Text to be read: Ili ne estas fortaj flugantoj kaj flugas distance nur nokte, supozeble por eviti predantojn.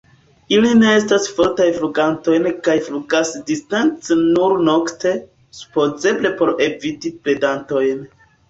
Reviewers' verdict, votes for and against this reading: rejected, 1, 2